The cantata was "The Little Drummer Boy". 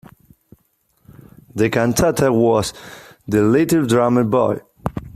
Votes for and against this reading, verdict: 2, 0, accepted